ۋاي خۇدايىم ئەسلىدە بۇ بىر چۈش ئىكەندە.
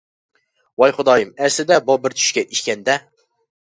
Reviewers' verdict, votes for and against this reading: rejected, 0, 2